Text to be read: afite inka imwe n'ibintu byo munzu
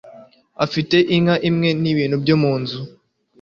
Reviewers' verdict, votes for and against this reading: accepted, 2, 0